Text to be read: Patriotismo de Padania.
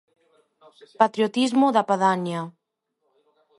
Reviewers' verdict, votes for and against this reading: rejected, 1, 2